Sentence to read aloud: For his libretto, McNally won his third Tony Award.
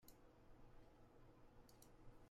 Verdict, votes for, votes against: rejected, 0, 2